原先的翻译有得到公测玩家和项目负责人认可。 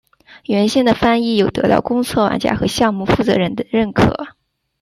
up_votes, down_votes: 0, 2